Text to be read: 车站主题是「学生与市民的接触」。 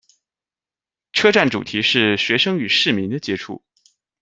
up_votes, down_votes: 2, 0